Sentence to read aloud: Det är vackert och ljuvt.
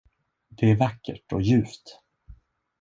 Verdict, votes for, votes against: accepted, 2, 0